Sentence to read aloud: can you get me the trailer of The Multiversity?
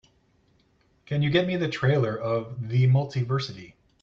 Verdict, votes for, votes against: accepted, 2, 0